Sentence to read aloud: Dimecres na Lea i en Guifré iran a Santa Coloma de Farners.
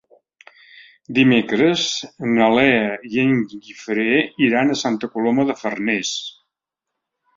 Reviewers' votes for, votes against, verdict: 3, 0, accepted